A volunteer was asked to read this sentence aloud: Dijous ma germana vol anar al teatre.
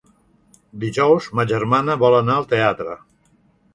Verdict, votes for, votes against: accepted, 3, 0